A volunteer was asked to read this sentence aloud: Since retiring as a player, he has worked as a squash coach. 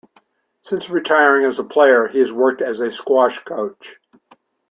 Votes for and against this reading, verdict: 2, 0, accepted